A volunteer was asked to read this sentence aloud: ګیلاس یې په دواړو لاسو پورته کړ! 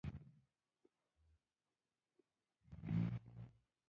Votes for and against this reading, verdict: 1, 2, rejected